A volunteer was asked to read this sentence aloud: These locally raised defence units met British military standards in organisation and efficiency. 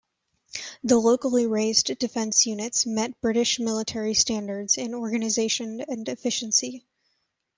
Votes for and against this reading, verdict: 1, 2, rejected